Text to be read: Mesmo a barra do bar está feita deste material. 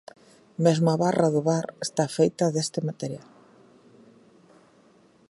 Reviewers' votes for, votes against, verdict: 4, 0, accepted